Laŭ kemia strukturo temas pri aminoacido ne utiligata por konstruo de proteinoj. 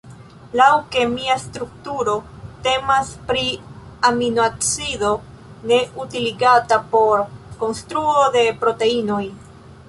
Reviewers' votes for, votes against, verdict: 2, 0, accepted